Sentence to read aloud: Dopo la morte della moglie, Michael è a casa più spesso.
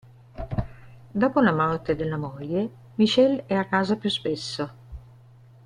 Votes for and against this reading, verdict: 0, 3, rejected